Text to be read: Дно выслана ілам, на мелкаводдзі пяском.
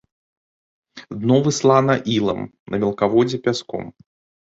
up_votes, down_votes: 0, 2